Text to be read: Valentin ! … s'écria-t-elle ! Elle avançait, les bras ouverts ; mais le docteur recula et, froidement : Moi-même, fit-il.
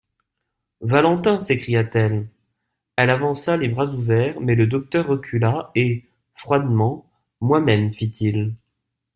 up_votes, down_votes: 0, 2